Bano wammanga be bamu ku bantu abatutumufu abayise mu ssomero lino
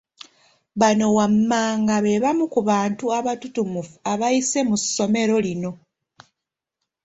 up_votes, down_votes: 2, 0